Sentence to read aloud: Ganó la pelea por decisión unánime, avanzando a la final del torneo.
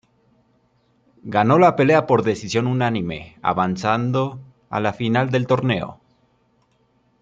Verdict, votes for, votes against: accepted, 2, 0